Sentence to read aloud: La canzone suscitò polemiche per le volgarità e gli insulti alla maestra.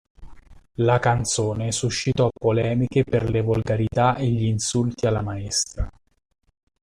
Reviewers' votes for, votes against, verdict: 1, 2, rejected